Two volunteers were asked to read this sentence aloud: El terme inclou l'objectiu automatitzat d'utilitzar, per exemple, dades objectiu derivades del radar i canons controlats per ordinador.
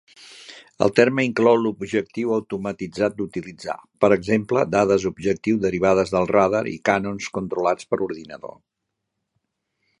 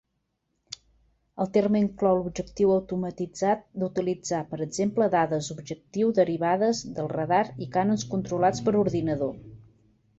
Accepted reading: first